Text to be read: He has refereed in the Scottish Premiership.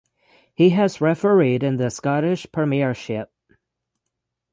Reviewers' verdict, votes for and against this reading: accepted, 6, 0